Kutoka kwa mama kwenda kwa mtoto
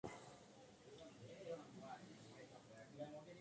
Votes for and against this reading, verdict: 0, 2, rejected